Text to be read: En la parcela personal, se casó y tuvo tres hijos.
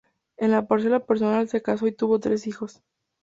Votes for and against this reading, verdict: 2, 0, accepted